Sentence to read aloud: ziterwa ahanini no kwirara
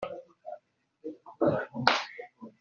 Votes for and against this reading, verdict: 1, 2, rejected